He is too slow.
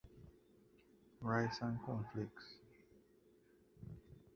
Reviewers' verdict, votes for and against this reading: rejected, 0, 2